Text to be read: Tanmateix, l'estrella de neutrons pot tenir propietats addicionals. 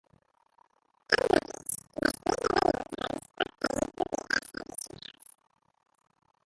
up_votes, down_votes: 0, 2